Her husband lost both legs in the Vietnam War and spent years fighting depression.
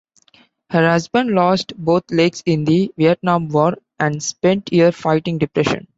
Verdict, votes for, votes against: rejected, 0, 2